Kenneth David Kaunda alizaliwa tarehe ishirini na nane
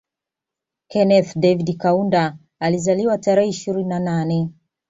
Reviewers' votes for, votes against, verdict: 2, 0, accepted